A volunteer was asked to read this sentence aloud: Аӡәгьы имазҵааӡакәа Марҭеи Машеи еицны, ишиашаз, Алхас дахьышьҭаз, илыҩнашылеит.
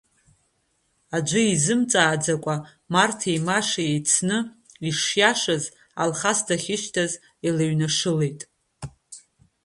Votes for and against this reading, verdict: 2, 0, accepted